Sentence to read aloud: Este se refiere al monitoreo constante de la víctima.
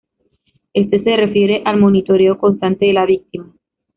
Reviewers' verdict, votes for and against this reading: accepted, 2, 0